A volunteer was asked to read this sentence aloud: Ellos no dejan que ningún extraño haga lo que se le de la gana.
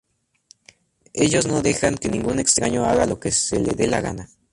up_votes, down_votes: 2, 0